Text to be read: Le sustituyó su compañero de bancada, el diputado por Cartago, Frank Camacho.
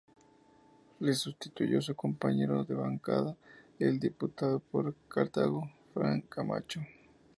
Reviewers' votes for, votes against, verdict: 2, 0, accepted